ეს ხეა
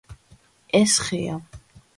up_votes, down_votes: 2, 0